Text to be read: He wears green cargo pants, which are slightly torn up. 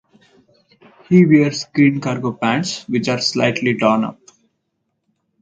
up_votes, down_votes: 2, 0